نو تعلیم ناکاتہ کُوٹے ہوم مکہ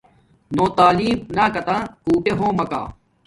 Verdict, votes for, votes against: accepted, 2, 0